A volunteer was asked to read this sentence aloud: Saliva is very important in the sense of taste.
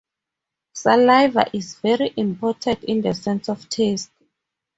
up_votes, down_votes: 4, 0